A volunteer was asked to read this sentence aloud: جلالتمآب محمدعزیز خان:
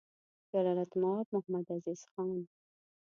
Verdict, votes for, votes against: accepted, 2, 0